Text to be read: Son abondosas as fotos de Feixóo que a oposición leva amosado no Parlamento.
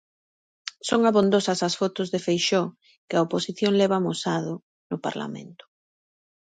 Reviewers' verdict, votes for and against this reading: accepted, 2, 0